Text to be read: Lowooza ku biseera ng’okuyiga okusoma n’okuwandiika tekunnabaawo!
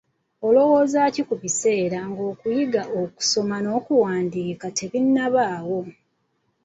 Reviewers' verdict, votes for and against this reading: rejected, 0, 2